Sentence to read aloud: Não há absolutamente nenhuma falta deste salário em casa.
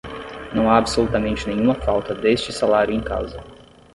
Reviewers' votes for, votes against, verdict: 10, 0, accepted